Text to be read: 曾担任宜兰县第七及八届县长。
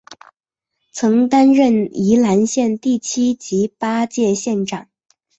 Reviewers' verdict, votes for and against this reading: accepted, 5, 0